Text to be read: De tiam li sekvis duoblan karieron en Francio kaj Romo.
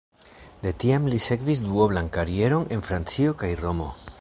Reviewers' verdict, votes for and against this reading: accepted, 3, 0